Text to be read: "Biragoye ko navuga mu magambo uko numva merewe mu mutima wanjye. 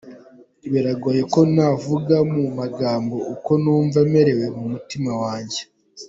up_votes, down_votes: 3, 0